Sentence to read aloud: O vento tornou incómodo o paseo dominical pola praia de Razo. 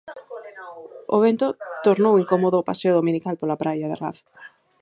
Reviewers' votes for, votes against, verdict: 0, 4, rejected